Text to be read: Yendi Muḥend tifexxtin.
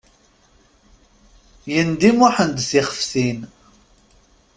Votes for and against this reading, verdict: 1, 2, rejected